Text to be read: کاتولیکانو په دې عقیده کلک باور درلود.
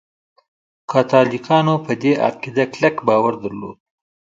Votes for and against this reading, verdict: 2, 1, accepted